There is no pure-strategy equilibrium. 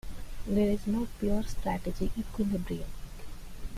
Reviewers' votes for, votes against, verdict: 2, 1, accepted